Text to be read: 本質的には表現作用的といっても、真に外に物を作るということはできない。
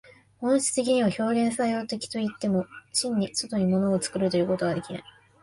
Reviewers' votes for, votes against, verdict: 2, 1, accepted